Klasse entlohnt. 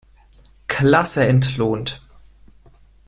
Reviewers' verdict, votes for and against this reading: accepted, 2, 0